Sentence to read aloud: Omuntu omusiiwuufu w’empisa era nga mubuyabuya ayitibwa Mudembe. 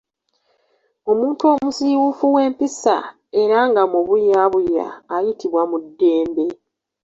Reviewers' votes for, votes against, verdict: 2, 0, accepted